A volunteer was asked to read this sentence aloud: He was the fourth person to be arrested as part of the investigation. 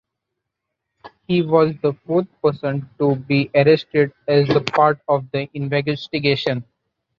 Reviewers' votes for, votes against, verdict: 0, 2, rejected